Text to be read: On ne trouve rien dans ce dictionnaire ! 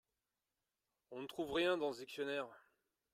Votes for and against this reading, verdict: 1, 2, rejected